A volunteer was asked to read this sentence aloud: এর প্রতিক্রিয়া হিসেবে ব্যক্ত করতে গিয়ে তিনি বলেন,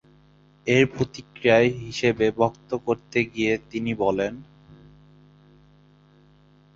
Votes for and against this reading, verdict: 0, 2, rejected